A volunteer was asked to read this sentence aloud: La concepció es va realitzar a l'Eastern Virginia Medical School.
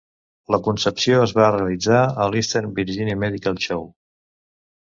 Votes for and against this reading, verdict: 0, 2, rejected